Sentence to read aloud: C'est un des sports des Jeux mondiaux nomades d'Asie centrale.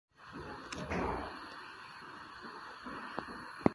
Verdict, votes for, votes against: rejected, 0, 2